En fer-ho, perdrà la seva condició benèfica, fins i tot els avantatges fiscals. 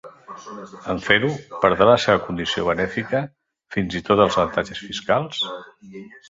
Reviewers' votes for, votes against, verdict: 3, 1, accepted